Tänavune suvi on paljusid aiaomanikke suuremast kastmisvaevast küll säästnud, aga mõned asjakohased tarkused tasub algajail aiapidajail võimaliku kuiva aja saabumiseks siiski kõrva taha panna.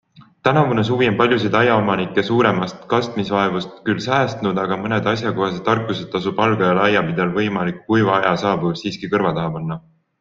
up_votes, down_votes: 3, 0